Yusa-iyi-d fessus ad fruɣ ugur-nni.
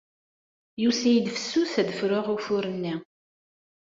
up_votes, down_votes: 1, 2